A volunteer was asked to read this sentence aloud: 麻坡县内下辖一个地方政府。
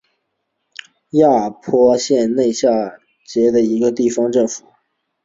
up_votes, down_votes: 0, 2